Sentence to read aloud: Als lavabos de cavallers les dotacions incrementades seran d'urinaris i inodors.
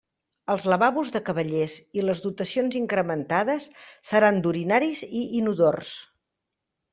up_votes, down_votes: 0, 2